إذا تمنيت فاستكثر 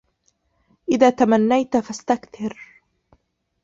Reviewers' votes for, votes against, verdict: 2, 3, rejected